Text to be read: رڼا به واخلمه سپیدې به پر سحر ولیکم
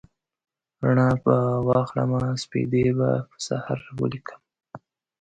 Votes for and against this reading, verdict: 2, 0, accepted